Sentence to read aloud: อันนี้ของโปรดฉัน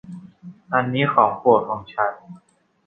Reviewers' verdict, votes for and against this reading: rejected, 0, 2